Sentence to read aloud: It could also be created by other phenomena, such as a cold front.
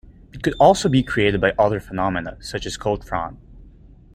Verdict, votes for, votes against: rejected, 1, 2